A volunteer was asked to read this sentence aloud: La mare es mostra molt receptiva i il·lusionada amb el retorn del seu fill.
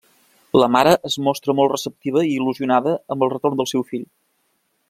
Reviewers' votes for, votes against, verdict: 3, 0, accepted